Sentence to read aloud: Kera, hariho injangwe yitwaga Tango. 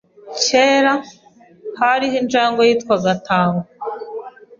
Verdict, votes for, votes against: accepted, 2, 0